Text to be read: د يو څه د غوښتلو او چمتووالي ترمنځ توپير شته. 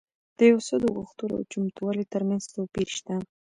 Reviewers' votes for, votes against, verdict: 2, 0, accepted